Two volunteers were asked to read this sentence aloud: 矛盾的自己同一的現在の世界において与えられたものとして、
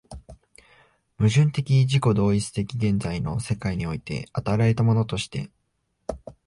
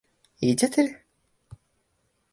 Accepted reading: first